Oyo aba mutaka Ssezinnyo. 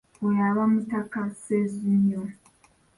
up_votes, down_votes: 2, 0